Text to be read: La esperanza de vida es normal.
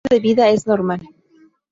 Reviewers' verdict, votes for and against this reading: rejected, 0, 4